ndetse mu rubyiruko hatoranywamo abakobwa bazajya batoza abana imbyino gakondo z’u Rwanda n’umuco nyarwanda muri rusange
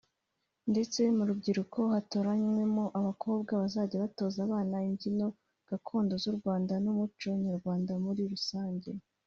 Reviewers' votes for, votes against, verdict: 2, 1, accepted